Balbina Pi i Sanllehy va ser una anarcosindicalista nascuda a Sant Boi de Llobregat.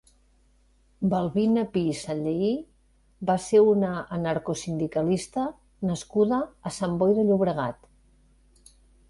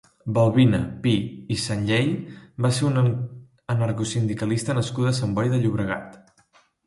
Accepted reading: first